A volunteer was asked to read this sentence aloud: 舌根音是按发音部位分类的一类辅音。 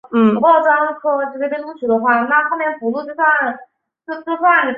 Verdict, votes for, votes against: rejected, 1, 3